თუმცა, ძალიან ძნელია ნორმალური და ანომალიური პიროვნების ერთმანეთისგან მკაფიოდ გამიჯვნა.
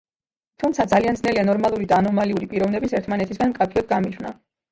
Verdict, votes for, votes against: accepted, 2, 1